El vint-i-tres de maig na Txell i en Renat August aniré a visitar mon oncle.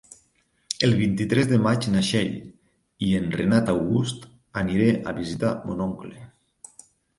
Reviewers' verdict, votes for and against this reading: accepted, 3, 0